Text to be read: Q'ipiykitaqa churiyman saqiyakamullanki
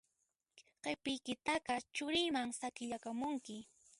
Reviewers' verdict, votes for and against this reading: rejected, 0, 2